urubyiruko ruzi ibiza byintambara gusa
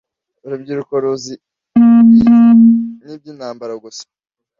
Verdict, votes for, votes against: rejected, 0, 2